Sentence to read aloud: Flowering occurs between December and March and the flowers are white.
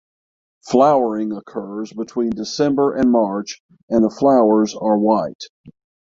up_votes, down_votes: 3, 3